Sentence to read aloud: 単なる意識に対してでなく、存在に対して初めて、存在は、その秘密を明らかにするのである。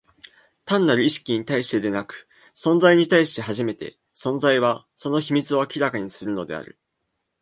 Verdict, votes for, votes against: accepted, 3, 0